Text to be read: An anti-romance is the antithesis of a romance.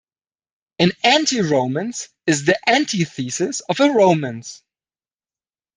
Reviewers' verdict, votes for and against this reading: accepted, 2, 0